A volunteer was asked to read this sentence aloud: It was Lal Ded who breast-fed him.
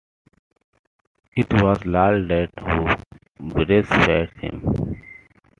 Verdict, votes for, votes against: rejected, 0, 2